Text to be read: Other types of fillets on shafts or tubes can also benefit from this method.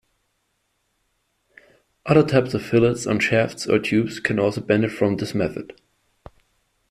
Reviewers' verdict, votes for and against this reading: rejected, 0, 2